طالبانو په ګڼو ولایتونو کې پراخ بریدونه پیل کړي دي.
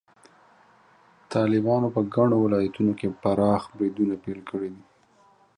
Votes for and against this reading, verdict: 0, 2, rejected